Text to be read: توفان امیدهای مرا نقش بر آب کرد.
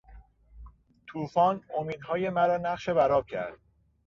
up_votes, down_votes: 2, 0